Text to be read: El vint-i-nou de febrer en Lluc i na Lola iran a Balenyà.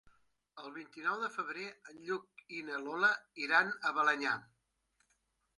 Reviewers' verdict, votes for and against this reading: accepted, 3, 1